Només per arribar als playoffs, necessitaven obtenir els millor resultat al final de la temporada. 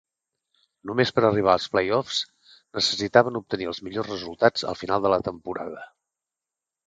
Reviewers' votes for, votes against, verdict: 0, 2, rejected